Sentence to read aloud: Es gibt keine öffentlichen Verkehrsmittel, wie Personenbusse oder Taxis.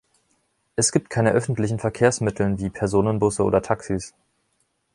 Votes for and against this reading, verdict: 2, 0, accepted